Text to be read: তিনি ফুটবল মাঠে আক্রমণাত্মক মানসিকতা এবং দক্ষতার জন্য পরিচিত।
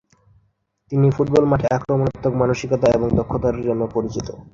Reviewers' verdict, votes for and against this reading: accepted, 2, 1